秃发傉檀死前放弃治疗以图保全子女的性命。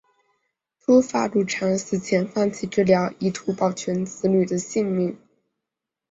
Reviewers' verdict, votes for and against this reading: accepted, 3, 0